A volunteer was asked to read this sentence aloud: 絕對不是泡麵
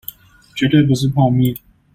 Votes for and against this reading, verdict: 2, 0, accepted